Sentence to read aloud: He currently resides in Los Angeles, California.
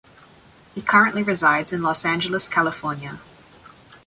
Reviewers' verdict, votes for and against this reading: accepted, 2, 0